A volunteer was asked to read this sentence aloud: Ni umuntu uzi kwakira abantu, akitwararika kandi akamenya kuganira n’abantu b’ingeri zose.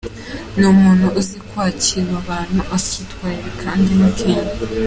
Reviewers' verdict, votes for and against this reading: rejected, 0, 2